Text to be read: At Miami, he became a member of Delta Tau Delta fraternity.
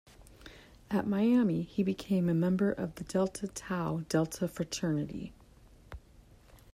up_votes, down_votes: 2, 1